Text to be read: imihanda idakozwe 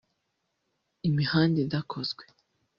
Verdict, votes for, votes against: rejected, 1, 2